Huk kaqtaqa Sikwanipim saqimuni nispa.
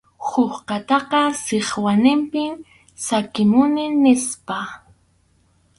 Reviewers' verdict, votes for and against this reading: rejected, 2, 2